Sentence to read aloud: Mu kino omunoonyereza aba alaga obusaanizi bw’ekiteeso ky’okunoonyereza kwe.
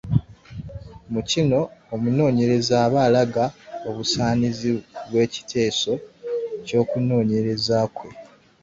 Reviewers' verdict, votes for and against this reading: rejected, 0, 2